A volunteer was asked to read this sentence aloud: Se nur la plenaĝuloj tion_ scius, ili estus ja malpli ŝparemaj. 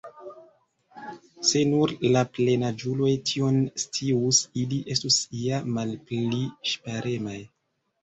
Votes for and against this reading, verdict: 1, 2, rejected